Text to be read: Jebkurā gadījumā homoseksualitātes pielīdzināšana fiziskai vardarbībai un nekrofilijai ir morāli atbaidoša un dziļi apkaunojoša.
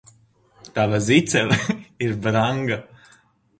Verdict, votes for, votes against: rejected, 0, 2